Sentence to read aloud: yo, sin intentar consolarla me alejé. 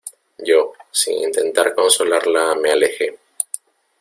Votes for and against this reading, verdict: 1, 2, rejected